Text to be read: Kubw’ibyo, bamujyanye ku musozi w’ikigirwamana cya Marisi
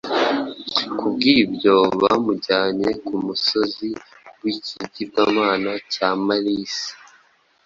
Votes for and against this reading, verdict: 2, 0, accepted